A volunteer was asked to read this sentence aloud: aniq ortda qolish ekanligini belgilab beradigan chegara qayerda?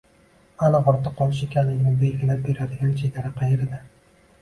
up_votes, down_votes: 0, 2